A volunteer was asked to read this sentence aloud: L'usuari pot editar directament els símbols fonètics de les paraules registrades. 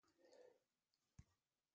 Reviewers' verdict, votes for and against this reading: rejected, 0, 2